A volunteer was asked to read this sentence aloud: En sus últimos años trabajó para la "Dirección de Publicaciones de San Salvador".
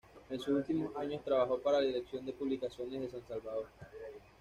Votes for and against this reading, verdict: 1, 2, rejected